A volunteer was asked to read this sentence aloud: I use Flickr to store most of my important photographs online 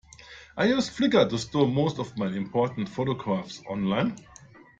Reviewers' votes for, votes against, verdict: 2, 0, accepted